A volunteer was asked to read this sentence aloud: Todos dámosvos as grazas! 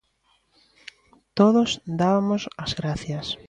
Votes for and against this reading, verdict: 0, 2, rejected